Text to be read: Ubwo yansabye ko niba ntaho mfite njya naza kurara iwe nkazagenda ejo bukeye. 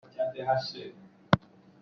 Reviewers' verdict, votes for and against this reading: rejected, 0, 2